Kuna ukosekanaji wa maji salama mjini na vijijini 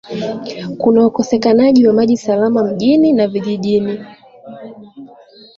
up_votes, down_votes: 2, 0